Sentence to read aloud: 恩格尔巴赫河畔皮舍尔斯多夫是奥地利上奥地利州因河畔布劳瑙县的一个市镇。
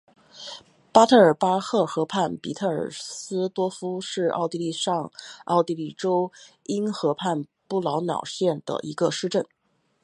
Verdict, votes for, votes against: rejected, 0, 3